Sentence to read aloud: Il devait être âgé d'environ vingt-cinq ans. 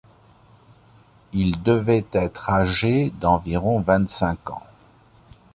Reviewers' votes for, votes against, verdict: 2, 0, accepted